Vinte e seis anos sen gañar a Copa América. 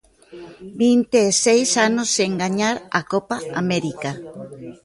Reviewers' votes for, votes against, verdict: 1, 2, rejected